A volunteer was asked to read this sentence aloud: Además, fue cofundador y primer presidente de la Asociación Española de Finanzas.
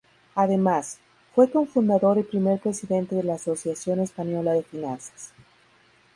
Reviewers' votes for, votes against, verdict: 0, 2, rejected